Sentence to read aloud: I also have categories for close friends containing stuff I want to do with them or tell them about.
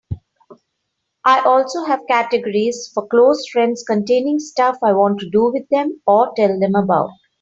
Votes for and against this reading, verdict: 3, 0, accepted